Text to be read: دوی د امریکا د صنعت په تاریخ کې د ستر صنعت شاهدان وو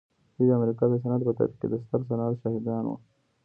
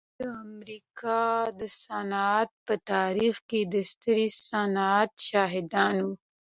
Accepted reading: second